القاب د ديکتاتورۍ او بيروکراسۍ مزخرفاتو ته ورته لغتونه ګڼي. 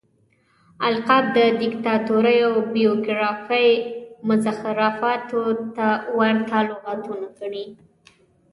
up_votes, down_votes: 1, 2